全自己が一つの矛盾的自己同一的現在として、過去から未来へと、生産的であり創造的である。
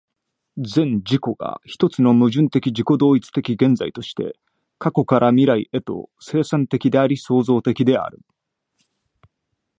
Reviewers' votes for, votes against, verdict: 2, 0, accepted